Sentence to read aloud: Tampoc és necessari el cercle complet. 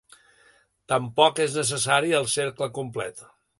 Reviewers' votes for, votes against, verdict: 2, 0, accepted